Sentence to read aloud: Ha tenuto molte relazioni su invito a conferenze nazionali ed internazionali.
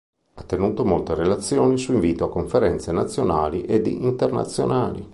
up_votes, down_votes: 3, 0